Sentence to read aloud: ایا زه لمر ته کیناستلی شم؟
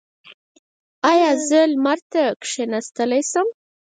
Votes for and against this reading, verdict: 0, 4, rejected